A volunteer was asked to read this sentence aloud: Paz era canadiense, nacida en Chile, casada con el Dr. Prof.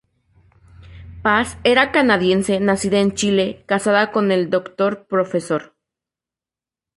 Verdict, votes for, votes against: accepted, 2, 0